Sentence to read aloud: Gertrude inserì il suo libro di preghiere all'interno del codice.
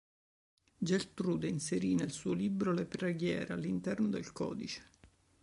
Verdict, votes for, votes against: rejected, 1, 2